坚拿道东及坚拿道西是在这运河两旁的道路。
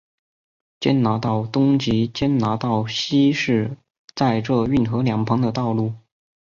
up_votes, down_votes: 4, 0